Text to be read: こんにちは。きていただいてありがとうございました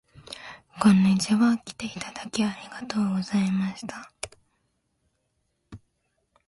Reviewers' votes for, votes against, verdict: 2, 0, accepted